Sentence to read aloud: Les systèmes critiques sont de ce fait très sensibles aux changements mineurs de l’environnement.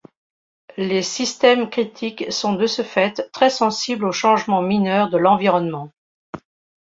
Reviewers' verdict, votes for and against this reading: accepted, 2, 0